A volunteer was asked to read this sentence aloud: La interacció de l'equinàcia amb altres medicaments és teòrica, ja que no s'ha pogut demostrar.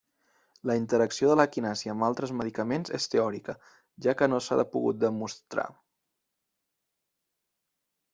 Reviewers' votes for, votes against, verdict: 1, 2, rejected